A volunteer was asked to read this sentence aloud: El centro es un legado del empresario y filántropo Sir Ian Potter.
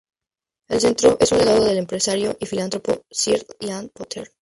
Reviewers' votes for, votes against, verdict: 2, 0, accepted